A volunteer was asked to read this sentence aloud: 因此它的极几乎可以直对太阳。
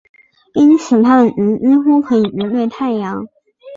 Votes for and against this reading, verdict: 1, 3, rejected